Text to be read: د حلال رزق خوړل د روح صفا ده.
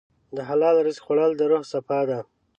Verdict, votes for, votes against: accepted, 2, 0